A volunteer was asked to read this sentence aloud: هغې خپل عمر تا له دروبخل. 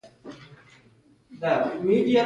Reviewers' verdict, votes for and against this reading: accepted, 2, 0